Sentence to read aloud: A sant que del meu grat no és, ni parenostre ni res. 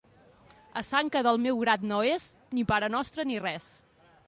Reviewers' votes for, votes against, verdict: 3, 0, accepted